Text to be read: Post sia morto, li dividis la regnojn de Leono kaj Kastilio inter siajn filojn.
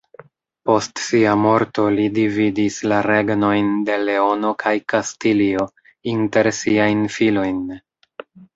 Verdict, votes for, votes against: rejected, 0, 2